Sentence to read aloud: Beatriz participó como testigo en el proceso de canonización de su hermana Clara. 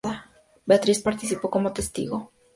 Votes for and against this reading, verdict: 0, 4, rejected